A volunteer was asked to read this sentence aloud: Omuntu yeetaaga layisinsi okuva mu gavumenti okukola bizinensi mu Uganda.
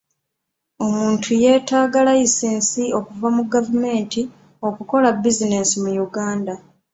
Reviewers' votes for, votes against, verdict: 2, 0, accepted